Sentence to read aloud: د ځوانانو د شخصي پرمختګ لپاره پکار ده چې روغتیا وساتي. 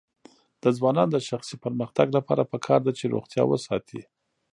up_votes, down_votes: 0, 2